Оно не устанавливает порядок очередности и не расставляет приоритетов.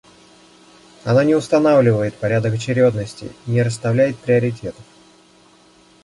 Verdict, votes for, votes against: rejected, 0, 2